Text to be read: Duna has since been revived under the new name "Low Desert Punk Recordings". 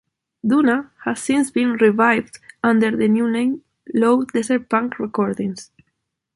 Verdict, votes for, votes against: accepted, 2, 0